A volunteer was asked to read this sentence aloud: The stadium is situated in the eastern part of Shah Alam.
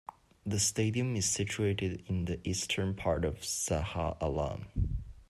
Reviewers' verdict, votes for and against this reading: rejected, 0, 2